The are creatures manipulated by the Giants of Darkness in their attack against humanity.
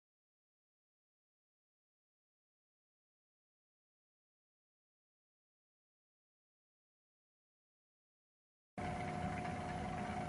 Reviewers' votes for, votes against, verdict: 0, 2, rejected